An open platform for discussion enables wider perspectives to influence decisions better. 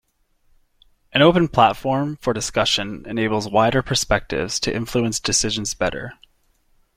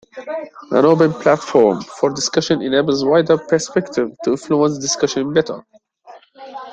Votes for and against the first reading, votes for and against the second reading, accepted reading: 2, 0, 1, 2, first